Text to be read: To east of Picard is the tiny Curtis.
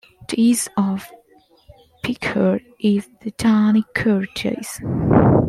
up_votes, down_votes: 1, 2